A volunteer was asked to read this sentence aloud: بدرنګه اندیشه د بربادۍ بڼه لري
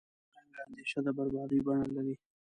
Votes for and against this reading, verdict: 0, 2, rejected